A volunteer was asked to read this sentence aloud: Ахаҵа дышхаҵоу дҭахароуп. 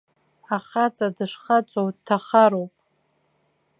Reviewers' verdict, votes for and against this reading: accepted, 3, 0